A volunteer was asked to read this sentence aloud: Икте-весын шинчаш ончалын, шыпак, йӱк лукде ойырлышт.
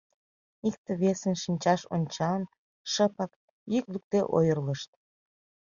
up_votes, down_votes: 2, 0